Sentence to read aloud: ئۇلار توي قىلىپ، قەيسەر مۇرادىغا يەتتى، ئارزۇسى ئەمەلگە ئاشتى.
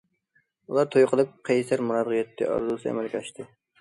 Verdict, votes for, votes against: rejected, 1, 2